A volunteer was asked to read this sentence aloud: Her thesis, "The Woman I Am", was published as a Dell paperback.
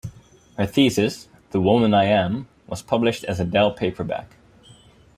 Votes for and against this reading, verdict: 4, 0, accepted